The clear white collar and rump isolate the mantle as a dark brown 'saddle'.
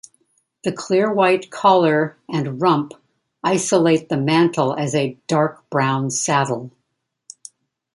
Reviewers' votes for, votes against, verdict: 2, 0, accepted